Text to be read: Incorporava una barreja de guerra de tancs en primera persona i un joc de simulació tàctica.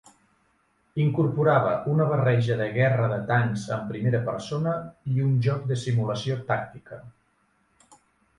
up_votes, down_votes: 2, 0